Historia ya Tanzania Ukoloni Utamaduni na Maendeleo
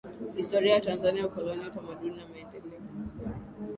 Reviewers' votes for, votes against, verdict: 2, 0, accepted